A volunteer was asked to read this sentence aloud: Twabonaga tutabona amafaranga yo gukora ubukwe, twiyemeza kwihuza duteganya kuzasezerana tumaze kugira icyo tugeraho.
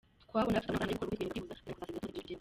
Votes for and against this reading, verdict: 0, 2, rejected